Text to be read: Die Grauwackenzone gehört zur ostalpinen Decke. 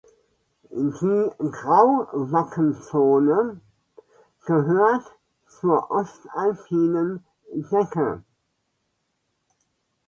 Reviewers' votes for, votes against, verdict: 0, 2, rejected